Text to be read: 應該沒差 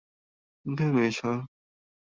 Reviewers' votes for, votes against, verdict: 0, 2, rejected